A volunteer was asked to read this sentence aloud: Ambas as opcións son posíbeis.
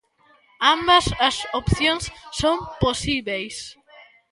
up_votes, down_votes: 2, 1